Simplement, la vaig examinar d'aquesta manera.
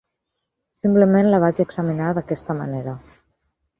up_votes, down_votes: 2, 4